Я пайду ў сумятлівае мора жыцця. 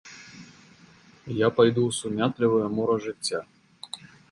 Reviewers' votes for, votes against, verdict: 2, 0, accepted